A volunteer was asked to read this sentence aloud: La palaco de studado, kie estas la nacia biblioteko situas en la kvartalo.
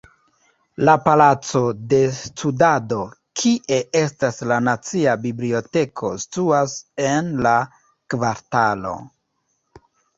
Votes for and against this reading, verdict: 0, 2, rejected